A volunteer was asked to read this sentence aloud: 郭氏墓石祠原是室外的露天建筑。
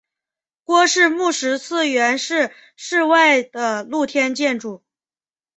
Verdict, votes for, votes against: accepted, 2, 0